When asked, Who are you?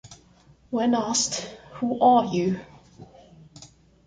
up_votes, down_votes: 2, 0